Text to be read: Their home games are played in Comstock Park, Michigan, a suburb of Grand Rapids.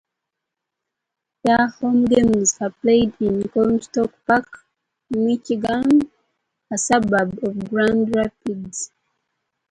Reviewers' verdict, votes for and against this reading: rejected, 0, 2